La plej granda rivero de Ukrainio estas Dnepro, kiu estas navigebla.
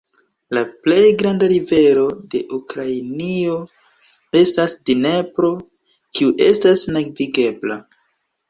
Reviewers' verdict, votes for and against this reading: rejected, 1, 2